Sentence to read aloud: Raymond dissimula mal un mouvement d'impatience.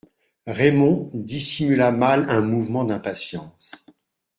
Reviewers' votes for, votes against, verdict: 2, 0, accepted